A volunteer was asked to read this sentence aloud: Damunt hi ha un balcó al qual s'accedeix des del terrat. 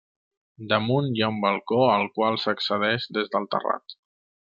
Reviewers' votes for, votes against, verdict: 2, 0, accepted